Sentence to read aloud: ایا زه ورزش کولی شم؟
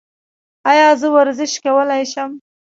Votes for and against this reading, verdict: 2, 0, accepted